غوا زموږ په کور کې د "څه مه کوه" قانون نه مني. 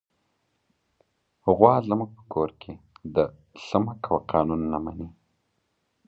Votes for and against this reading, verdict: 3, 0, accepted